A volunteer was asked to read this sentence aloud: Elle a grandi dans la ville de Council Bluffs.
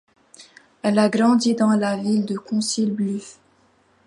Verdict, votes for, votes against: rejected, 0, 2